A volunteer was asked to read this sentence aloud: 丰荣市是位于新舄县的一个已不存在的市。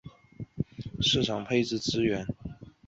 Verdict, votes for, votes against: rejected, 0, 2